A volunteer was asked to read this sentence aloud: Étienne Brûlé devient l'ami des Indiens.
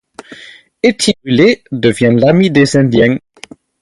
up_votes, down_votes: 0, 4